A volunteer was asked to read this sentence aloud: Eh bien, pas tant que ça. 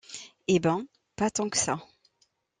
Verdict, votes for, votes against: rejected, 1, 2